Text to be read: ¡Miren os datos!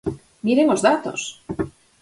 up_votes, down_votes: 6, 0